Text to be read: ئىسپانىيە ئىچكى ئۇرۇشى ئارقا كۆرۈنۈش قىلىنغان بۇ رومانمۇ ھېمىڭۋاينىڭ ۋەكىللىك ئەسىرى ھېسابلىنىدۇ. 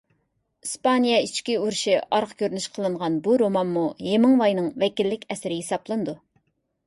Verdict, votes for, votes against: accepted, 3, 0